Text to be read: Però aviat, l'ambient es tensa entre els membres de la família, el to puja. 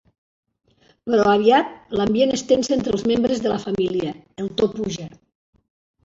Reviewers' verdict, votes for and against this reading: accepted, 2, 1